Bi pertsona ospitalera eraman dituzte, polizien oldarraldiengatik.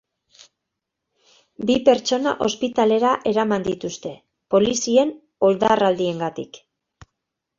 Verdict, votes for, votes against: accepted, 2, 0